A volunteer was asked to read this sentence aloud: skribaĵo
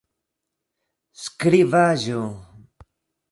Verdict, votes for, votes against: rejected, 1, 2